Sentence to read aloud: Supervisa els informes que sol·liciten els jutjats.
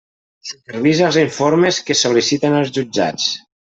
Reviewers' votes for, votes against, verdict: 1, 2, rejected